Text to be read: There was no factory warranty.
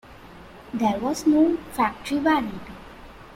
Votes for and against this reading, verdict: 2, 1, accepted